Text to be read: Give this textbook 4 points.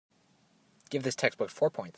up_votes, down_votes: 0, 2